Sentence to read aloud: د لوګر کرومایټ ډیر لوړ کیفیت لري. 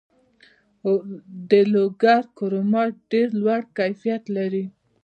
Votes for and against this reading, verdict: 2, 1, accepted